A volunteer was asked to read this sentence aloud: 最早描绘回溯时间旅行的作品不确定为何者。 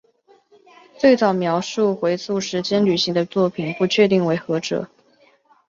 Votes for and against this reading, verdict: 2, 0, accepted